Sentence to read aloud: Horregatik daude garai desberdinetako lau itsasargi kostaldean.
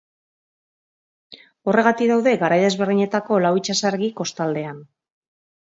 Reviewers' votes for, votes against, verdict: 2, 0, accepted